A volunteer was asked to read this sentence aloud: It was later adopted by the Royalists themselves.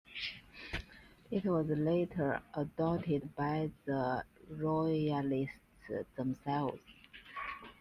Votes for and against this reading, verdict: 2, 0, accepted